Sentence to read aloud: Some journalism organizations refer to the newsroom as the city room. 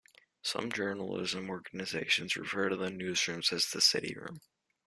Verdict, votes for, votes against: rejected, 1, 2